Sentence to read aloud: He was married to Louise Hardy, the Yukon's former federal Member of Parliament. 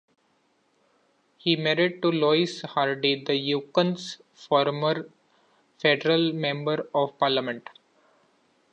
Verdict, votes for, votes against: rejected, 1, 2